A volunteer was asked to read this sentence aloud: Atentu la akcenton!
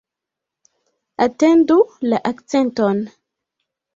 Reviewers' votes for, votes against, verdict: 0, 2, rejected